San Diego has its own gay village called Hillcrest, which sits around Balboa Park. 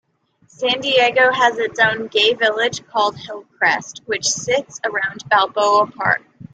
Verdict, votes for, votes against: accepted, 2, 0